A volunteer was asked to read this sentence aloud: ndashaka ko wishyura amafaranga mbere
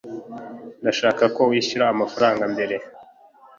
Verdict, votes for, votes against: accepted, 2, 0